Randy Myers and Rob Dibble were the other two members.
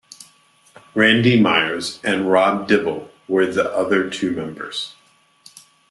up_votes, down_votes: 2, 0